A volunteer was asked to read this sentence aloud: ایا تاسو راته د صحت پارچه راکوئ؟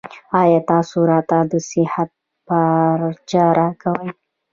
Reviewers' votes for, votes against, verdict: 2, 0, accepted